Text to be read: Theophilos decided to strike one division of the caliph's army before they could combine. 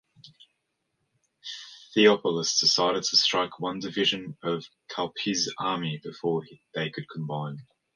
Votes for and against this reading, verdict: 0, 2, rejected